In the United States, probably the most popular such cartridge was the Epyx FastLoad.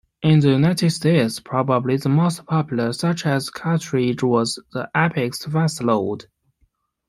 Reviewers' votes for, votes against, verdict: 1, 2, rejected